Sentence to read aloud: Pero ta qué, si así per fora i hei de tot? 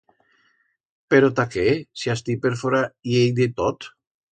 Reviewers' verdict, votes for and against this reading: rejected, 1, 2